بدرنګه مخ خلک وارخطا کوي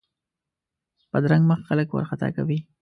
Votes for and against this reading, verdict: 2, 0, accepted